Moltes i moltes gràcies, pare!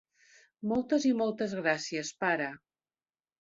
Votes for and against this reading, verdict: 2, 1, accepted